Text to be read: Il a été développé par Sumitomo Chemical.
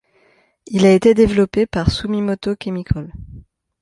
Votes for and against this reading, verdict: 1, 2, rejected